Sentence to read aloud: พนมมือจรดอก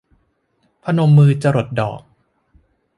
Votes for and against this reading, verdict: 1, 2, rejected